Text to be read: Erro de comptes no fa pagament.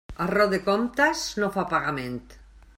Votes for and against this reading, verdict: 2, 0, accepted